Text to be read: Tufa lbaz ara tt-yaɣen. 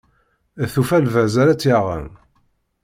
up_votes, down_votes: 2, 0